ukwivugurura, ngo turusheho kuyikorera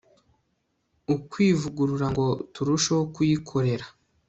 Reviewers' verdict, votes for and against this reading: accepted, 2, 0